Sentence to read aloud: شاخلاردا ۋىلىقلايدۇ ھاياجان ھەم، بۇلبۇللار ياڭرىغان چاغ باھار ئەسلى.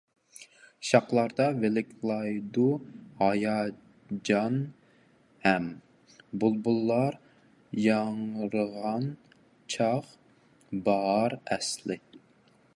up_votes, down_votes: 1, 2